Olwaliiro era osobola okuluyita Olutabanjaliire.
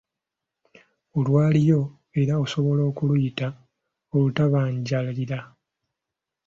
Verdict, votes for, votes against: rejected, 0, 2